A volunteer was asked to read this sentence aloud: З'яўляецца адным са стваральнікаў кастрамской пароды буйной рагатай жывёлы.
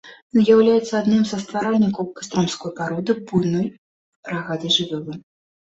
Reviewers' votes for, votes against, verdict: 2, 1, accepted